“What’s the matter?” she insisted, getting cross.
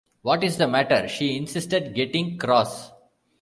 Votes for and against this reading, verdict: 1, 2, rejected